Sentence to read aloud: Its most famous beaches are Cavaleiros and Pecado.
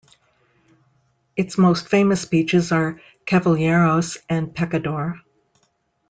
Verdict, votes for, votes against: rejected, 1, 2